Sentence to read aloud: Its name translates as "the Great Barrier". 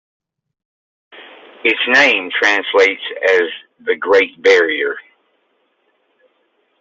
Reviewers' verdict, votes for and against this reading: accepted, 2, 0